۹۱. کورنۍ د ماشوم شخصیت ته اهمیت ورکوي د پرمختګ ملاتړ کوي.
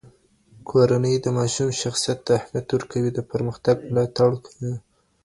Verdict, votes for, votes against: rejected, 0, 2